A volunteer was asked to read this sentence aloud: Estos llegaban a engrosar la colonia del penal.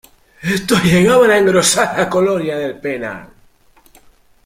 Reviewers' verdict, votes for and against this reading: rejected, 1, 2